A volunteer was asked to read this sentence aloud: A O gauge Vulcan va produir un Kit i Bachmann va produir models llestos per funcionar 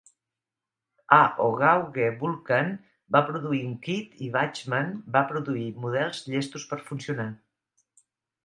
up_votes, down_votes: 2, 1